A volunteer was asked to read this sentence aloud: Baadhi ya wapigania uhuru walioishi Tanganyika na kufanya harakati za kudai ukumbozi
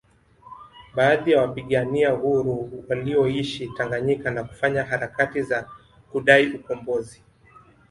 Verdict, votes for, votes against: accepted, 2, 0